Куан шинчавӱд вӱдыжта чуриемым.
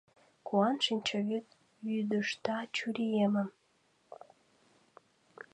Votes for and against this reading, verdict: 2, 0, accepted